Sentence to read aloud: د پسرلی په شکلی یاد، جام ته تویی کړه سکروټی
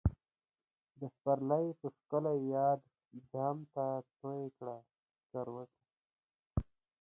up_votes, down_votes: 2, 0